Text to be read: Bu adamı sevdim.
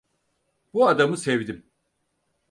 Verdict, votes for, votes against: accepted, 4, 0